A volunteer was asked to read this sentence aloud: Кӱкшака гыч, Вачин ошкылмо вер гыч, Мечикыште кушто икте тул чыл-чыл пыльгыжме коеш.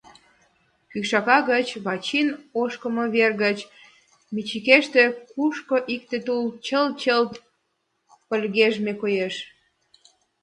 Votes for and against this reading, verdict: 0, 2, rejected